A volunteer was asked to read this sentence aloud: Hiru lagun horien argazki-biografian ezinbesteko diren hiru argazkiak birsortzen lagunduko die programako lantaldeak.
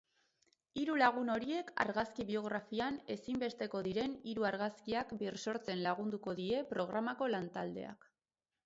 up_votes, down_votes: 0, 2